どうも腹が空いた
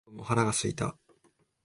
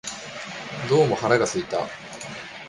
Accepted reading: second